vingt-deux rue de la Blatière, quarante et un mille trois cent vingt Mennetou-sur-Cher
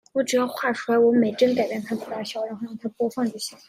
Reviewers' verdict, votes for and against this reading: rejected, 0, 2